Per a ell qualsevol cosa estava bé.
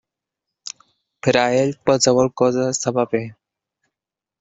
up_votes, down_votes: 2, 1